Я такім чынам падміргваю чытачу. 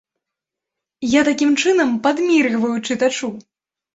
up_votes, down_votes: 2, 0